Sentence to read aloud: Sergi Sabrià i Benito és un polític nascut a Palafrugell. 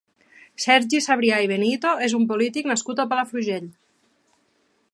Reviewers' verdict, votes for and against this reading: accepted, 3, 0